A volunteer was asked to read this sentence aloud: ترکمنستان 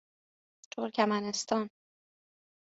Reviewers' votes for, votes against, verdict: 2, 0, accepted